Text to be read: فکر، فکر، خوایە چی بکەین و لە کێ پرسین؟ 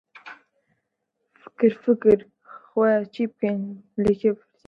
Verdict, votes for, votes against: rejected, 0, 2